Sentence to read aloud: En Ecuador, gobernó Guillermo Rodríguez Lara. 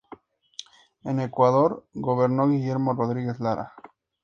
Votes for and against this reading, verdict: 2, 0, accepted